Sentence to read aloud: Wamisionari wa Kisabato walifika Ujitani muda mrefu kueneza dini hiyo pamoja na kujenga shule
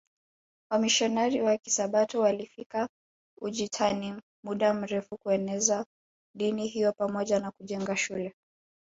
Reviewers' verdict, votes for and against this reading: rejected, 1, 2